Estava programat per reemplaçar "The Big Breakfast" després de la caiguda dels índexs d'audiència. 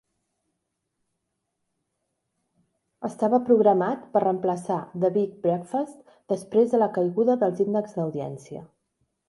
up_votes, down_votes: 0, 2